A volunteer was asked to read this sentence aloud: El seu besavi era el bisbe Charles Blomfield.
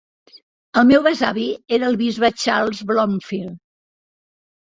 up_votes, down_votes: 0, 2